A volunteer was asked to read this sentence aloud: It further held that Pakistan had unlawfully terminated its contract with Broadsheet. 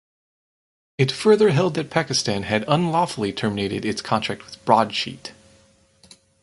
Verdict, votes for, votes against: accepted, 4, 0